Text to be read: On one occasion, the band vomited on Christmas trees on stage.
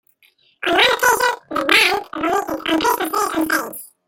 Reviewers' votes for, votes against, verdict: 0, 2, rejected